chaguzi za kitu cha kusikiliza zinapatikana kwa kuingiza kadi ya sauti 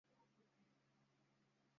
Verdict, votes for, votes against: rejected, 0, 2